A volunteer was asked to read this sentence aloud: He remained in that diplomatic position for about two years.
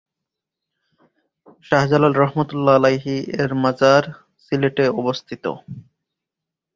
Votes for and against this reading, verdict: 0, 2, rejected